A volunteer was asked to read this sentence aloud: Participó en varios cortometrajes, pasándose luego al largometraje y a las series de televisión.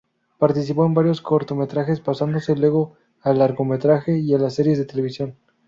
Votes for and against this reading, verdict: 0, 2, rejected